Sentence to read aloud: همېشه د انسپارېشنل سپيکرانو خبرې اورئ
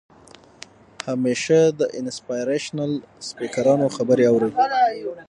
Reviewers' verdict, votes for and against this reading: rejected, 3, 6